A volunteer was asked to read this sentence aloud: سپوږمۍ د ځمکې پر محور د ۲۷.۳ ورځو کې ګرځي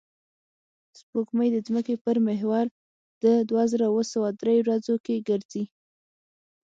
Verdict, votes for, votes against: rejected, 0, 2